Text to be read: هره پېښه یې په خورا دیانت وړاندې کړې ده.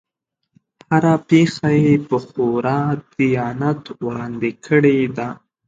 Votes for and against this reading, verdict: 2, 0, accepted